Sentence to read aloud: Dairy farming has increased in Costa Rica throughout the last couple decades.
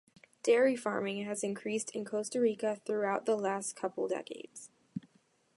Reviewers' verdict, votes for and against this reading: accepted, 2, 0